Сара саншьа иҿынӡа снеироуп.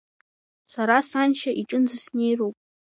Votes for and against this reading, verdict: 3, 0, accepted